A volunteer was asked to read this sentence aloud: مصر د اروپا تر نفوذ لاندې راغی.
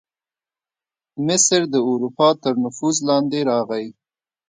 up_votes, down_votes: 2, 0